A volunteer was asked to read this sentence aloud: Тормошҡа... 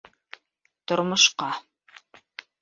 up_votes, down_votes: 2, 0